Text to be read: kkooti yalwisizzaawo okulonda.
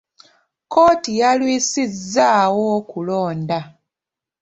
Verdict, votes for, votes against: accepted, 2, 0